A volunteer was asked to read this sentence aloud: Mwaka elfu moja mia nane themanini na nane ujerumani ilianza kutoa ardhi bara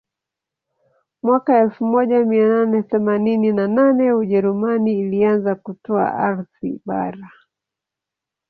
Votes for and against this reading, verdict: 1, 2, rejected